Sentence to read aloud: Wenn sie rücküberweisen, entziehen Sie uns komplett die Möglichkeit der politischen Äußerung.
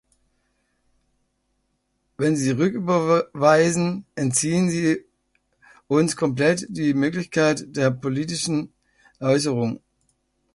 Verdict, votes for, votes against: rejected, 0, 2